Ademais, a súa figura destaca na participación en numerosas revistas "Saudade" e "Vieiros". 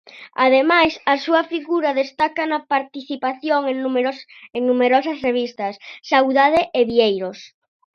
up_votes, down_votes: 0, 2